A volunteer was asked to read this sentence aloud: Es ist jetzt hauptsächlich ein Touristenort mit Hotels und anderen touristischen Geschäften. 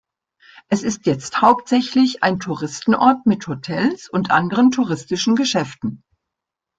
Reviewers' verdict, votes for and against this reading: accepted, 2, 0